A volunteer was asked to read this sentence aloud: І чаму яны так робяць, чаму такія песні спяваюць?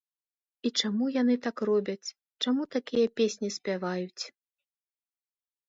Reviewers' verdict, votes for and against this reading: accepted, 2, 0